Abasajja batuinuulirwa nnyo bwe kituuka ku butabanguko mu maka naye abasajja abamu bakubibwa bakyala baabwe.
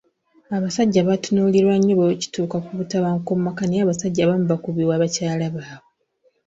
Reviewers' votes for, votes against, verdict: 0, 2, rejected